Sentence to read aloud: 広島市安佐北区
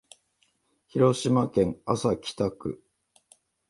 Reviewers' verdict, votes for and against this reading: rejected, 1, 2